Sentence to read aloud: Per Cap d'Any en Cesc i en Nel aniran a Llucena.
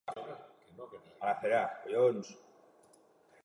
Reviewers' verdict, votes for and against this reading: rejected, 0, 2